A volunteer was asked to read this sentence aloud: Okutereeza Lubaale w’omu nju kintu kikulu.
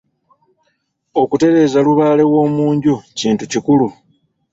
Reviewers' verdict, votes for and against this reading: accepted, 2, 0